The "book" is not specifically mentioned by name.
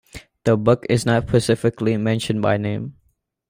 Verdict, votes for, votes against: rejected, 1, 2